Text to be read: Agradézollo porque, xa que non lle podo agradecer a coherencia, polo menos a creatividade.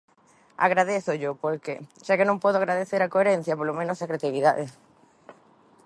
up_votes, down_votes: 0, 2